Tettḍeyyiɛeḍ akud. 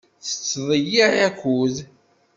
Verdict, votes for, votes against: rejected, 1, 2